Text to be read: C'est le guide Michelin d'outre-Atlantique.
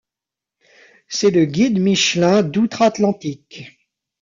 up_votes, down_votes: 1, 2